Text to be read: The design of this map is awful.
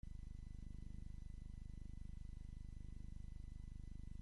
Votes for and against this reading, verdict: 0, 2, rejected